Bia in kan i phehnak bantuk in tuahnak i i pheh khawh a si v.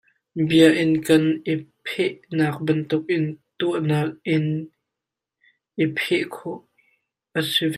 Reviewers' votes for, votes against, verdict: 0, 2, rejected